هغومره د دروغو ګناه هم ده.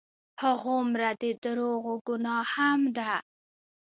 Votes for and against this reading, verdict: 0, 2, rejected